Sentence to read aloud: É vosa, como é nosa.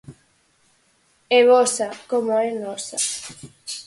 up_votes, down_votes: 4, 0